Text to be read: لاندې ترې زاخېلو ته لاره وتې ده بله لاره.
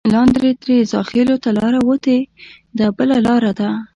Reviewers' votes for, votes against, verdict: 0, 2, rejected